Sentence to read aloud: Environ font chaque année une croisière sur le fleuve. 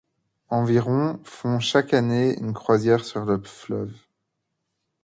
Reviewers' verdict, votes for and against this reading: rejected, 1, 2